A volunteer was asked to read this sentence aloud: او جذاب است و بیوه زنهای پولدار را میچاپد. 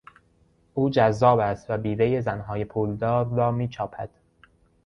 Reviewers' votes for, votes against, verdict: 0, 2, rejected